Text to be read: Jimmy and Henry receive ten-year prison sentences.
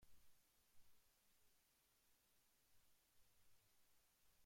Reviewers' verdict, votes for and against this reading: rejected, 0, 3